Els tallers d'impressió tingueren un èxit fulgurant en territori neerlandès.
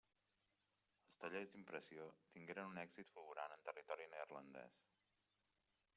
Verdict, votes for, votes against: accepted, 2, 0